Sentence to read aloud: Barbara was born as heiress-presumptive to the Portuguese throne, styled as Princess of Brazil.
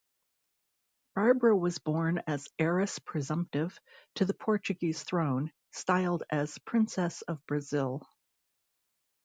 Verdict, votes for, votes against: accepted, 2, 0